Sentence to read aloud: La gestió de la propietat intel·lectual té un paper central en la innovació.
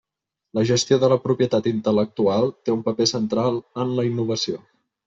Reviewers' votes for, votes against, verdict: 3, 0, accepted